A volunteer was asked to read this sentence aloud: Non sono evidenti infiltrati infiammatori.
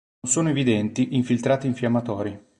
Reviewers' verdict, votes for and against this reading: rejected, 1, 3